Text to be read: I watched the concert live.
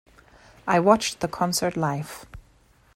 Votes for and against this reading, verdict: 2, 0, accepted